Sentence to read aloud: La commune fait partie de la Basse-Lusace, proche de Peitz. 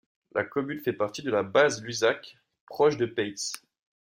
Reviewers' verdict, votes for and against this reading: rejected, 0, 2